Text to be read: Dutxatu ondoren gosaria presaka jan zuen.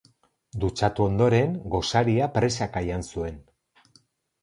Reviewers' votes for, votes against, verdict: 10, 0, accepted